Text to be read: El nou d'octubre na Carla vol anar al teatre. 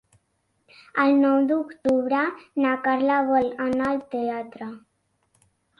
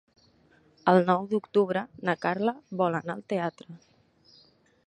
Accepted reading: first